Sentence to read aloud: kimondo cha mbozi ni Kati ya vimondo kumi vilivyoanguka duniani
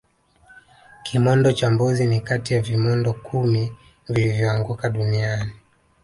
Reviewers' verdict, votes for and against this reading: rejected, 0, 2